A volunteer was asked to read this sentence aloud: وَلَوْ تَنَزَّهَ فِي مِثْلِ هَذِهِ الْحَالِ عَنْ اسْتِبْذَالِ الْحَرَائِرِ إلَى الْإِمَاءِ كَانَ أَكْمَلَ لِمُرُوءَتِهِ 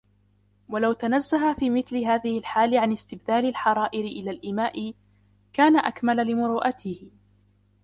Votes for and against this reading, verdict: 0, 2, rejected